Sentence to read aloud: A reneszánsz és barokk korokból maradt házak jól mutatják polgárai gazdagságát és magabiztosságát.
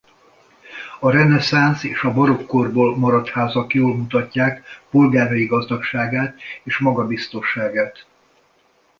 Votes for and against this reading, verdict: 1, 2, rejected